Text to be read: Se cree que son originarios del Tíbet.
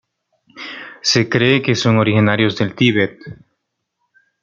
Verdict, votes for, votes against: accepted, 2, 0